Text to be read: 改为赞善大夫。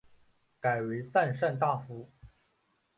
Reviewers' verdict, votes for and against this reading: accepted, 2, 0